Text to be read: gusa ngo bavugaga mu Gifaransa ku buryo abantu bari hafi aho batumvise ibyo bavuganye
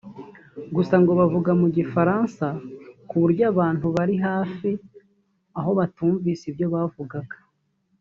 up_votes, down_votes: 0, 3